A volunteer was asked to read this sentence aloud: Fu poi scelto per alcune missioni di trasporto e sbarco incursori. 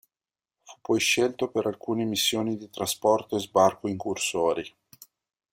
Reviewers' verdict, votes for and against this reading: rejected, 1, 2